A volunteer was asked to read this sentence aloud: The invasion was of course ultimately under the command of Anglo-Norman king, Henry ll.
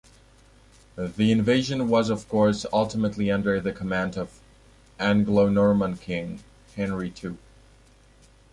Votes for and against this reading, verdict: 3, 1, accepted